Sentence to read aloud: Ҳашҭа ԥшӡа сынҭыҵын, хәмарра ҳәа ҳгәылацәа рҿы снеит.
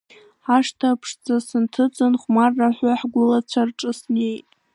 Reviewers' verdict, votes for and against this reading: accepted, 2, 1